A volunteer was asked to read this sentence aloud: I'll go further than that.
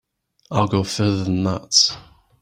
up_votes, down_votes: 2, 1